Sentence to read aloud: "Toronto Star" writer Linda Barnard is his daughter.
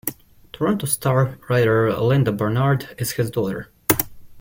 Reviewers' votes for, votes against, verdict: 2, 0, accepted